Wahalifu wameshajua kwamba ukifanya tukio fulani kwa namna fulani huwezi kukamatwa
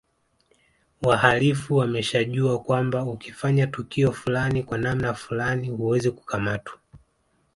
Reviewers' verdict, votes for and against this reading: accepted, 2, 0